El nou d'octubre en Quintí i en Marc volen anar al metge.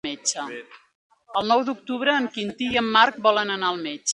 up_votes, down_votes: 2, 1